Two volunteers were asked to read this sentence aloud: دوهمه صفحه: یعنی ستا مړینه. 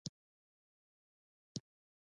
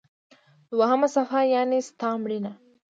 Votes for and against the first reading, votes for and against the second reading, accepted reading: 0, 2, 2, 0, second